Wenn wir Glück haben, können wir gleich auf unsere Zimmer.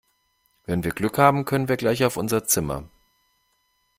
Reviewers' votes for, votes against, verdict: 1, 2, rejected